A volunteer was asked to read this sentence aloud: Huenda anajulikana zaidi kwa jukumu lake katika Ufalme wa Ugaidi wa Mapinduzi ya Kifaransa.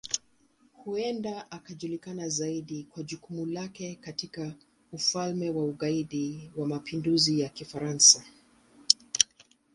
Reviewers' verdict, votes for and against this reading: accepted, 2, 0